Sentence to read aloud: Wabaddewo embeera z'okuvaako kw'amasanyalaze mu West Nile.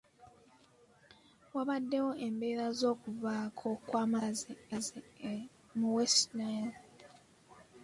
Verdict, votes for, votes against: accepted, 2, 1